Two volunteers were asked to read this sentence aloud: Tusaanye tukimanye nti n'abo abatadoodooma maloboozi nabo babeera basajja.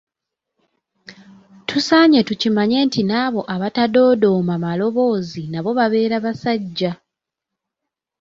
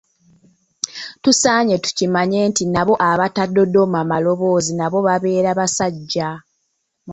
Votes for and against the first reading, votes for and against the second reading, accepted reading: 2, 0, 1, 2, first